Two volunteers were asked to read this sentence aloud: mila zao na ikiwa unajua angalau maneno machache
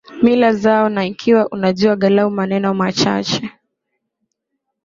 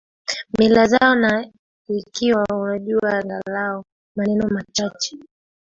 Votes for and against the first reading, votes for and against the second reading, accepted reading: 2, 1, 0, 2, first